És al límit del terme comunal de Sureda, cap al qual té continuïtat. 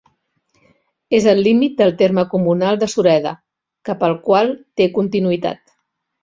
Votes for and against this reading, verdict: 2, 0, accepted